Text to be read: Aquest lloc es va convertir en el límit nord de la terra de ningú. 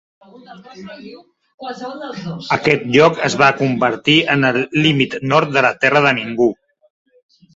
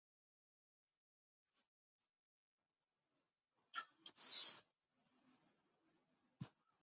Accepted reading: first